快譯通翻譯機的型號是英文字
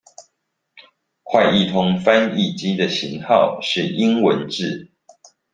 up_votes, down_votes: 2, 0